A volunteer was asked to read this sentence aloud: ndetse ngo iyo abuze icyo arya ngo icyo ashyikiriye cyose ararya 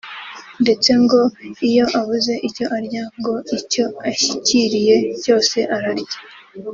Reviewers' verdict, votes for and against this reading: rejected, 1, 2